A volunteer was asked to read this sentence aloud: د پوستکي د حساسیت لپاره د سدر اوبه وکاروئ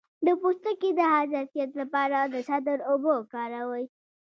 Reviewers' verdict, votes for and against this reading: rejected, 1, 2